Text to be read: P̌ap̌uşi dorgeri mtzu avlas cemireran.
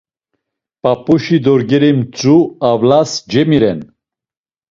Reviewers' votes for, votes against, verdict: 0, 2, rejected